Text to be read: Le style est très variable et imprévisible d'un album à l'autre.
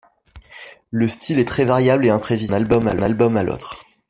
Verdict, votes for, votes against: rejected, 0, 2